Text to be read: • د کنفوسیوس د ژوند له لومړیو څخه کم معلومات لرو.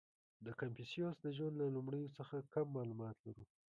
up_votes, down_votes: 1, 2